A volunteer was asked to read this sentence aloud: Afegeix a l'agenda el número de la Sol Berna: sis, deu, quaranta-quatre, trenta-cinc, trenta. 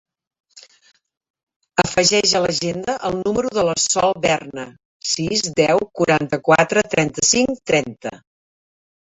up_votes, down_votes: 1, 2